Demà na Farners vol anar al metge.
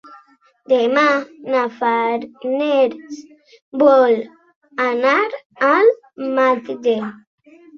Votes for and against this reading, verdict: 0, 2, rejected